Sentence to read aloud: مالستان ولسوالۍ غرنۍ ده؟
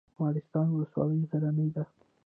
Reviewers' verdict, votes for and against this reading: rejected, 0, 2